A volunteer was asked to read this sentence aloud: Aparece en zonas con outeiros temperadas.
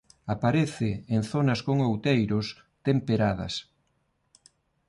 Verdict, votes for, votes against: accepted, 2, 0